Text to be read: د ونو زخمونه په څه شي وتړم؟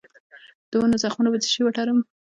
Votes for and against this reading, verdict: 1, 2, rejected